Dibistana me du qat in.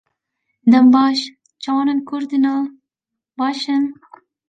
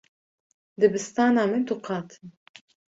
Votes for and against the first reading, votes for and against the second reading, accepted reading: 0, 2, 2, 1, second